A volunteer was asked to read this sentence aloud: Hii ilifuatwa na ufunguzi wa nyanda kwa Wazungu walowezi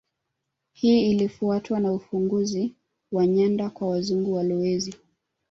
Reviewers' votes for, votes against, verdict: 3, 1, accepted